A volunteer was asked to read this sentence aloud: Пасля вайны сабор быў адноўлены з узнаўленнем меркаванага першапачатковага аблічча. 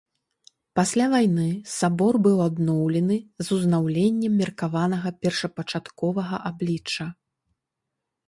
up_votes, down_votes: 2, 0